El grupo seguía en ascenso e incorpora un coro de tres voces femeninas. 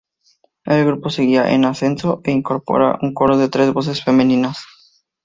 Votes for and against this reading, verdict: 2, 2, rejected